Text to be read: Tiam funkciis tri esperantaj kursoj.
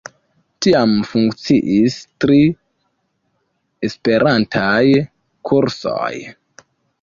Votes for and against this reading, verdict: 2, 0, accepted